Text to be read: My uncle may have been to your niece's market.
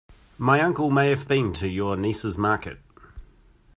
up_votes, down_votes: 2, 0